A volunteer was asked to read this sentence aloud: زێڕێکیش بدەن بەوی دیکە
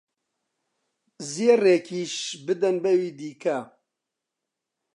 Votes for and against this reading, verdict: 2, 0, accepted